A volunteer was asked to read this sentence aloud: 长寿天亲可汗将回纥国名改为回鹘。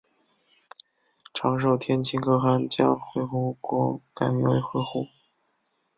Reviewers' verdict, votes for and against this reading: rejected, 0, 3